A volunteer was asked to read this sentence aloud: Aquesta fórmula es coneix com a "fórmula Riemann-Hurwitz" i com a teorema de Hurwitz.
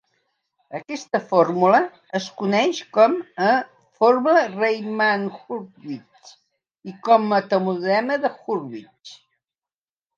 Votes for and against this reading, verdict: 1, 3, rejected